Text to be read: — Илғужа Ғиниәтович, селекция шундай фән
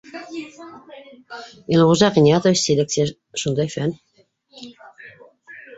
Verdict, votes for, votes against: rejected, 0, 2